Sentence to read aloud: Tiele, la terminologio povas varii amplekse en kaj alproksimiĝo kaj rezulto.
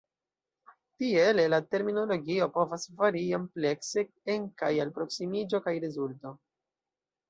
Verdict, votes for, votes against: rejected, 0, 2